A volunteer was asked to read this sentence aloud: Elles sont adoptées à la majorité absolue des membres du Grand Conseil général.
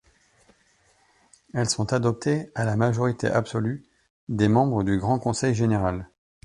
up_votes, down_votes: 2, 0